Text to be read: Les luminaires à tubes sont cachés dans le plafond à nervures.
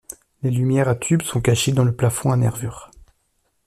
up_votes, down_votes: 1, 2